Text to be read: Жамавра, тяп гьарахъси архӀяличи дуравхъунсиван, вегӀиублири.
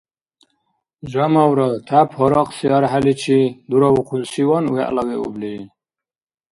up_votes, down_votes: 0, 2